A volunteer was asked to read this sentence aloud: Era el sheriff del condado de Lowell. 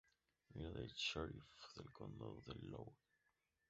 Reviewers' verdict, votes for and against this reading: rejected, 0, 4